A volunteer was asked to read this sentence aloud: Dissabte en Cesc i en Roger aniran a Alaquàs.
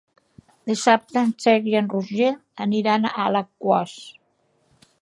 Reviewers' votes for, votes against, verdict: 0, 2, rejected